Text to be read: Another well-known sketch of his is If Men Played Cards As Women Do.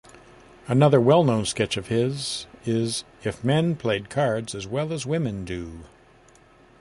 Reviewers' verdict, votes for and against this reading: rejected, 0, 2